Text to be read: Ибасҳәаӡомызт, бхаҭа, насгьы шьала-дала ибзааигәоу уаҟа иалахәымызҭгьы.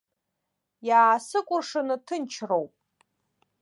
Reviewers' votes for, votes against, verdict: 0, 2, rejected